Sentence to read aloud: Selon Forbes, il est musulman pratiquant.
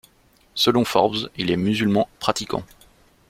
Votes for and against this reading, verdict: 2, 0, accepted